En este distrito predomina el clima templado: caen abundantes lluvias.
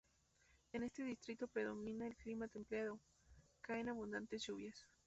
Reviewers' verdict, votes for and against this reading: accepted, 2, 0